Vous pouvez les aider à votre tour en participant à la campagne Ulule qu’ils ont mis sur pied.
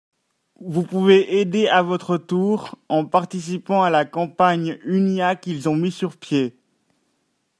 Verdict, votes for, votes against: rejected, 0, 2